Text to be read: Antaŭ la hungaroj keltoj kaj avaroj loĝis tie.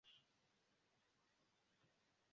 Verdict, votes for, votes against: rejected, 1, 2